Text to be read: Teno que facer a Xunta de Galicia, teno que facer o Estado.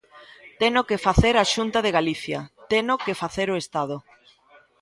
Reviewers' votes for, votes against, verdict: 2, 0, accepted